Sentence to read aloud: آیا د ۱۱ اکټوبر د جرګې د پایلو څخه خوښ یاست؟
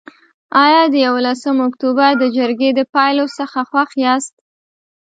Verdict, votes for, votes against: rejected, 0, 2